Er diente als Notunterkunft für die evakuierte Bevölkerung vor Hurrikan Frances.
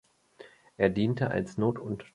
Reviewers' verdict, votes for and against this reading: rejected, 0, 2